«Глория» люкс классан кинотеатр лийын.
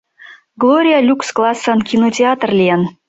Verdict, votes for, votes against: accepted, 2, 0